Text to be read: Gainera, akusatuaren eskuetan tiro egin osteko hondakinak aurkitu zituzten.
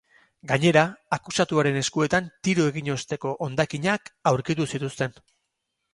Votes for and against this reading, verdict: 4, 0, accepted